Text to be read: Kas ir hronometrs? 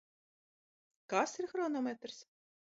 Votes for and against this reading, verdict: 1, 2, rejected